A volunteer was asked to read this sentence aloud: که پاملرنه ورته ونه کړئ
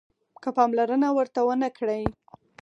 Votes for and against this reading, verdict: 4, 0, accepted